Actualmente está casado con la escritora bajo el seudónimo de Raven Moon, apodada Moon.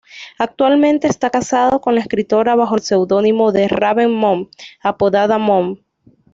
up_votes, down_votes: 2, 0